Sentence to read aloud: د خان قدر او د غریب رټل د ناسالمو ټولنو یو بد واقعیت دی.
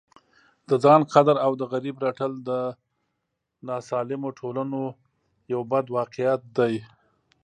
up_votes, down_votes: 0, 2